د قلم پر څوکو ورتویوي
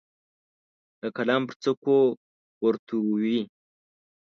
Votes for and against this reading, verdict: 0, 2, rejected